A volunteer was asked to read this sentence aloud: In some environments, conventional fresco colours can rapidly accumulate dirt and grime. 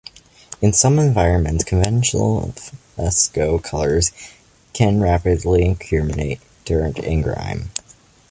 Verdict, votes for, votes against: accepted, 2, 1